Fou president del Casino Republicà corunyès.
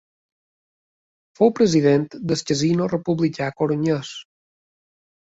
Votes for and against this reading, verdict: 2, 1, accepted